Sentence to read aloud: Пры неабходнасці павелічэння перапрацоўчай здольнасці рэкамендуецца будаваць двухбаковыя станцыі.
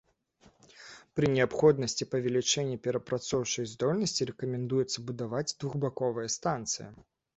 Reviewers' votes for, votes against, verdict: 2, 0, accepted